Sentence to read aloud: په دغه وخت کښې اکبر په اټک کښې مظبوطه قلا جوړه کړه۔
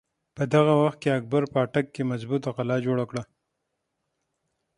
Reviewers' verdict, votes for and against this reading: accepted, 6, 3